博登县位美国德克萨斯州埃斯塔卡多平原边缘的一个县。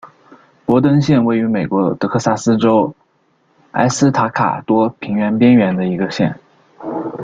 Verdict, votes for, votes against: rejected, 1, 2